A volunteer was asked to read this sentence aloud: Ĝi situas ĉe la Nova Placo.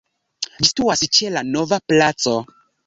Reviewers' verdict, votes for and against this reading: rejected, 0, 2